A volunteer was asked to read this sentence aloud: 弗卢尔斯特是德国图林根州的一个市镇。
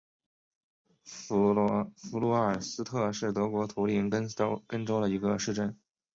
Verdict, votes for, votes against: accepted, 2, 0